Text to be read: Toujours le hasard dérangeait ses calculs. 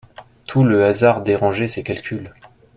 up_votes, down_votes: 0, 2